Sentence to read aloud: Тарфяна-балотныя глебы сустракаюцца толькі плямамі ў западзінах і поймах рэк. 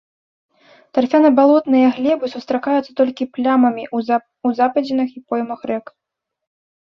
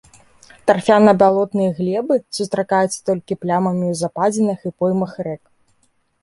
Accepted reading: second